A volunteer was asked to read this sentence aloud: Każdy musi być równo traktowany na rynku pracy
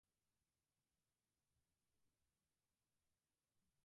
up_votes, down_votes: 0, 4